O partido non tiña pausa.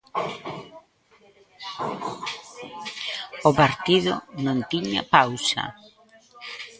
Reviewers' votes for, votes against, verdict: 0, 2, rejected